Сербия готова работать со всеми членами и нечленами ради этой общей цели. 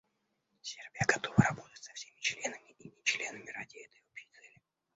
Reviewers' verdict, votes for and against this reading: rejected, 1, 2